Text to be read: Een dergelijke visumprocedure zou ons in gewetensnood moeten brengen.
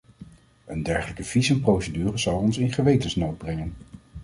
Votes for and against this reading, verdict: 1, 2, rejected